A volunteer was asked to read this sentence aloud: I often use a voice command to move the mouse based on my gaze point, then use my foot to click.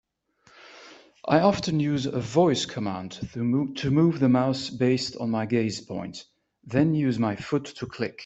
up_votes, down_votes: 2, 1